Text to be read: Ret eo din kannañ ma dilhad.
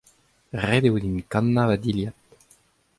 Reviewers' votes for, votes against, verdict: 2, 0, accepted